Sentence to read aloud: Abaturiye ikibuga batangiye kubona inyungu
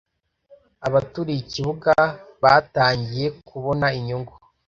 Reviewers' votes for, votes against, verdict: 2, 0, accepted